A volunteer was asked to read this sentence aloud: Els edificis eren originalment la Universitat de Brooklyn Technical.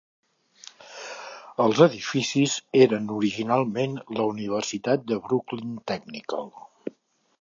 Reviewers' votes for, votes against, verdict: 2, 0, accepted